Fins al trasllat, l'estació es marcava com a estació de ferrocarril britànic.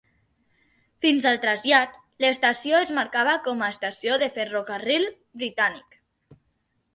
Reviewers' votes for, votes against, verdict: 3, 0, accepted